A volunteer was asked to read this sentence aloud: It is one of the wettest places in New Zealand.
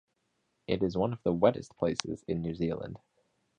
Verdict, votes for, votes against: accepted, 2, 0